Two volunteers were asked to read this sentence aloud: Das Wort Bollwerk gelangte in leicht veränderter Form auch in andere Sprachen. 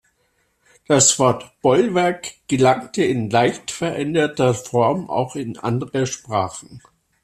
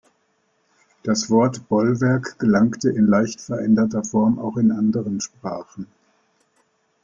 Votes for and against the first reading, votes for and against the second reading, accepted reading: 2, 0, 1, 2, first